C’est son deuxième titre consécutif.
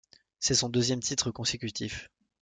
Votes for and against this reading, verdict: 2, 0, accepted